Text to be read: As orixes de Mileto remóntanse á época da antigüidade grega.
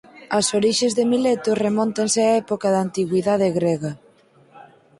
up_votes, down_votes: 2, 4